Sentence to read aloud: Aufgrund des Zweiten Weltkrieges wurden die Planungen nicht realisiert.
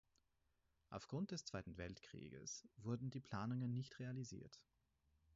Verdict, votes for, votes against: rejected, 2, 4